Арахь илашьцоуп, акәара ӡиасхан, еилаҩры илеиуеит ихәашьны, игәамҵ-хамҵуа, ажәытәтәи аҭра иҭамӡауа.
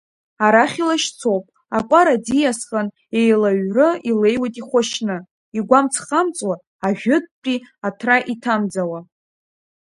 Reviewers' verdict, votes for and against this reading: accepted, 2, 0